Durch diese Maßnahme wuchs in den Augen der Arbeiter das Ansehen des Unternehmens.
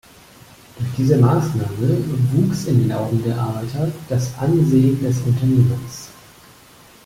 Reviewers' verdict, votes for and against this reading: rejected, 1, 2